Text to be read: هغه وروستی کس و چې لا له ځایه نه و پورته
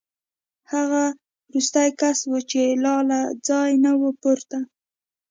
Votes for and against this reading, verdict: 2, 0, accepted